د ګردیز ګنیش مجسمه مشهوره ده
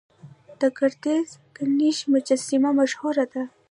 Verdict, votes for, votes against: rejected, 0, 2